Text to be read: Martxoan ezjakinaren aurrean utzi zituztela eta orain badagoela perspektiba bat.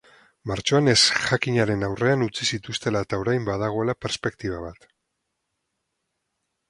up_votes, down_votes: 2, 2